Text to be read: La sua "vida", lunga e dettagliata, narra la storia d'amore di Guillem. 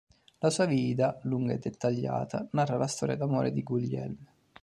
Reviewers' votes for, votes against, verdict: 0, 2, rejected